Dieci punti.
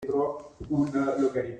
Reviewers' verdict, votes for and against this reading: rejected, 0, 2